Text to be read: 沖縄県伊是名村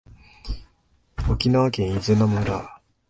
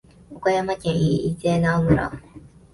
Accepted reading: first